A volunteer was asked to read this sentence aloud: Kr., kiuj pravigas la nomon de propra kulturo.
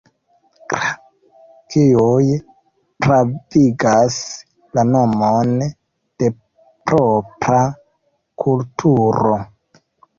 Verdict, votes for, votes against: accepted, 2, 1